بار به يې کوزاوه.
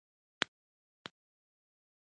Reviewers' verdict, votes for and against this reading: accepted, 2, 0